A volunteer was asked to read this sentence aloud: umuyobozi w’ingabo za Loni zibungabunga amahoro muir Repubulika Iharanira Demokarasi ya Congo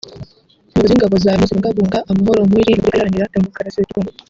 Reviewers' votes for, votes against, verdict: 0, 3, rejected